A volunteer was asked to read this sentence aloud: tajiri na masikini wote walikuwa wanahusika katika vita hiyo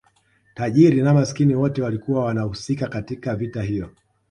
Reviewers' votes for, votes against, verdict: 2, 0, accepted